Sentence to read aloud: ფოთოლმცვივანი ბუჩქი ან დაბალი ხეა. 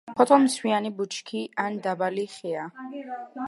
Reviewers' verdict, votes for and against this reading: rejected, 1, 2